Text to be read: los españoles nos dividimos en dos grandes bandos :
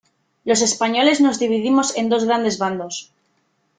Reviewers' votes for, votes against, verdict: 3, 0, accepted